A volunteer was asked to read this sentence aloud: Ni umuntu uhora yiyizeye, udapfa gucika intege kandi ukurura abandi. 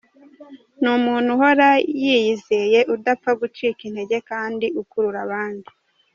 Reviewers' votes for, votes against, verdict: 2, 0, accepted